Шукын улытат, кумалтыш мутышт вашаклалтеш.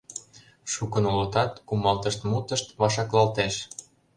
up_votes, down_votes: 2, 0